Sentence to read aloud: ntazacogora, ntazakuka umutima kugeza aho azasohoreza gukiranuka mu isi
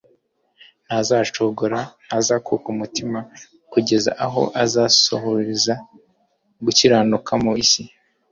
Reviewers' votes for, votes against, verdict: 2, 0, accepted